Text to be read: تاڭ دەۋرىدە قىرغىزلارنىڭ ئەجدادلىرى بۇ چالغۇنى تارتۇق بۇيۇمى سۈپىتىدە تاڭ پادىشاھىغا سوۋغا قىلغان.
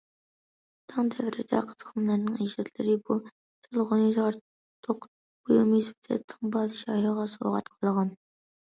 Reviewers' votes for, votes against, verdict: 0, 2, rejected